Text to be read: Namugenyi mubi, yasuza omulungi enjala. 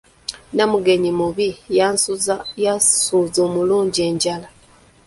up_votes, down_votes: 0, 2